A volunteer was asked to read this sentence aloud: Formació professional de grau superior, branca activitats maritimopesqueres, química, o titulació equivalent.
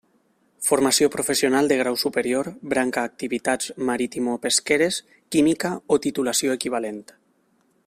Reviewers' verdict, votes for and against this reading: accepted, 3, 0